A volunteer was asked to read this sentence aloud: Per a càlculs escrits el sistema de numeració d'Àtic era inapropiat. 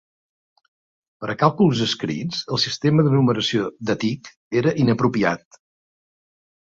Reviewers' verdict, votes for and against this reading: rejected, 1, 2